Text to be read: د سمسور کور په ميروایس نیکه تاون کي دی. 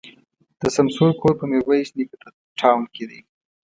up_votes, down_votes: 1, 2